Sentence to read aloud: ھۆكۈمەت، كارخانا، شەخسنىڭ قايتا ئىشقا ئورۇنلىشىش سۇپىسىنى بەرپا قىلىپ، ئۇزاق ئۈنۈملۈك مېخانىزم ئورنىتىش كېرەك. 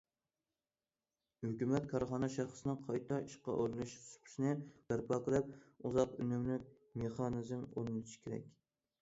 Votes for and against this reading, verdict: 1, 2, rejected